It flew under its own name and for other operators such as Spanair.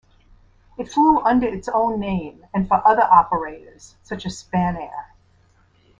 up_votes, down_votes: 2, 0